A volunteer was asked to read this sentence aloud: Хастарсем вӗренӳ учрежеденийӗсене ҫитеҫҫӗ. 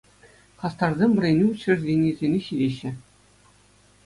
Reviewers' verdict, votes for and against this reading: accepted, 2, 0